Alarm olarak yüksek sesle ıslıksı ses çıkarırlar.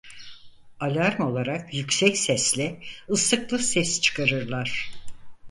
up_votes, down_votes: 2, 4